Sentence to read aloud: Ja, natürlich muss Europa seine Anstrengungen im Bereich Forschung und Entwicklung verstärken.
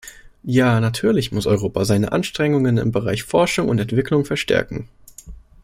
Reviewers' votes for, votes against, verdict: 2, 0, accepted